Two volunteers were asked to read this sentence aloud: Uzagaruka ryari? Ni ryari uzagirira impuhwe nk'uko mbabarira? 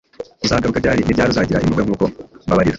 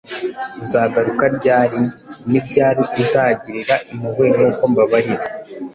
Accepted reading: second